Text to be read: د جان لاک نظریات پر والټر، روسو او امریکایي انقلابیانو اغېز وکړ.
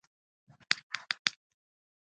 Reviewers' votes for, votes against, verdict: 1, 2, rejected